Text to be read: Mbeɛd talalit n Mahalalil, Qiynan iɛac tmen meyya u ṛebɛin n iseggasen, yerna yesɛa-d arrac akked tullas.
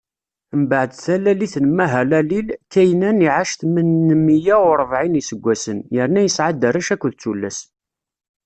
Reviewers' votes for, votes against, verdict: 1, 2, rejected